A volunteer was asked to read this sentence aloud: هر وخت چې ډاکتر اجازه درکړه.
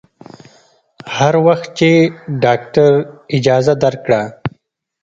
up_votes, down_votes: 2, 0